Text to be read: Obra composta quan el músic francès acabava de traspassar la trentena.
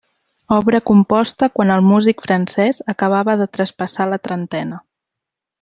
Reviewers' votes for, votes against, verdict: 2, 0, accepted